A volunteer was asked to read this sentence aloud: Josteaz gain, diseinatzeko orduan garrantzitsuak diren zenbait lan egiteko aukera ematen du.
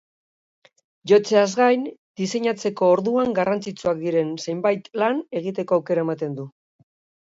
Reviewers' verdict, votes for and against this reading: rejected, 0, 2